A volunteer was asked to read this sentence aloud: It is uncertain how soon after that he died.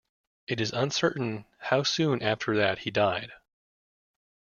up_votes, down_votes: 2, 0